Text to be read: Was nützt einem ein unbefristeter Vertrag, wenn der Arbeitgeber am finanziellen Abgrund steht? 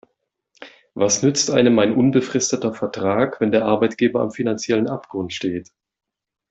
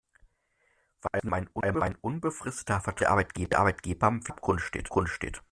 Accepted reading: first